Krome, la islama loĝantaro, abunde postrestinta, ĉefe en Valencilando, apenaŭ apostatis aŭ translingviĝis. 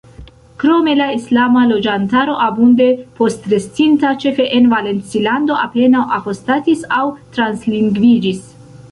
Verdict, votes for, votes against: rejected, 1, 2